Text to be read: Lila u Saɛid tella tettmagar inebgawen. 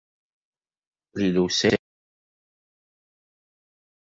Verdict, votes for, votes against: rejected, 0, 2